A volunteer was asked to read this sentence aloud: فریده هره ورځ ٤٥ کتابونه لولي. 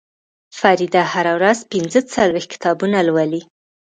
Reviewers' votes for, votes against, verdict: 0, 2, rejected